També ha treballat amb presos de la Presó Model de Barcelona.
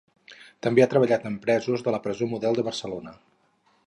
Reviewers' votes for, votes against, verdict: 4, 0, accepted